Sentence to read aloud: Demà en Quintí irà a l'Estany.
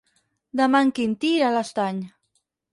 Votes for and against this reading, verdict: 2, 4, rejected